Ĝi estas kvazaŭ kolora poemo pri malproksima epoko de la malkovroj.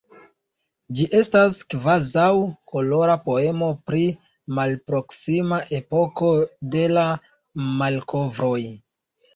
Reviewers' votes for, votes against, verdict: 1, 2, rejected